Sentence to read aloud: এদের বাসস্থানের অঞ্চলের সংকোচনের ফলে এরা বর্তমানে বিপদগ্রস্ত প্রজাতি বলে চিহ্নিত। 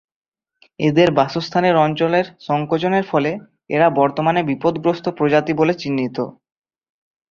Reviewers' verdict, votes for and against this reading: accepted, 2, 1